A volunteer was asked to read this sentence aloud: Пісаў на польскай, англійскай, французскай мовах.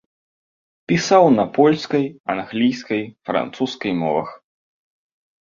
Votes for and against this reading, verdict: 2, 0, accepted